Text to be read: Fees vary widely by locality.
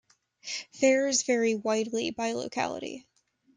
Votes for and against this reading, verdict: 0, 2, rejected